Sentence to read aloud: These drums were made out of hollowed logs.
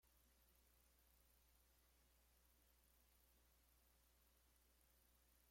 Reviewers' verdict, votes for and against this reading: rejected, 0, 2